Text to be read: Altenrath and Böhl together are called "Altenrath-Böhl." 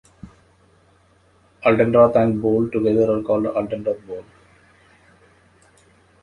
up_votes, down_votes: 0, 2